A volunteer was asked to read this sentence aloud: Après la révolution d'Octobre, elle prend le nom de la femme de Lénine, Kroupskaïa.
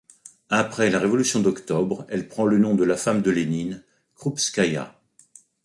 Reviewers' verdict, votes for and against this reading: rejected, 1, 2